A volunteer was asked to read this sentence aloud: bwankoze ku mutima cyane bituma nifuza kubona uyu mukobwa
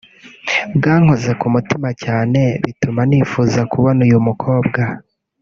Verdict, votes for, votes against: accepted, 2, 1